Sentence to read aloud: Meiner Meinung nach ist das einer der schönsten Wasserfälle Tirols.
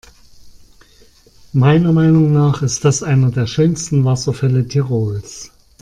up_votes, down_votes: 2, 0